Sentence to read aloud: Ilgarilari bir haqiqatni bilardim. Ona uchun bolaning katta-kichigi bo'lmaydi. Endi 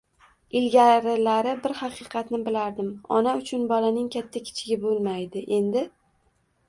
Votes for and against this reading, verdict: 1, 2, rejected